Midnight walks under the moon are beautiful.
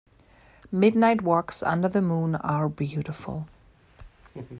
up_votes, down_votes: 2, 0